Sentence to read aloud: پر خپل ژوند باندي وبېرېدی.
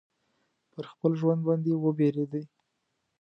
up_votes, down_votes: 2, 0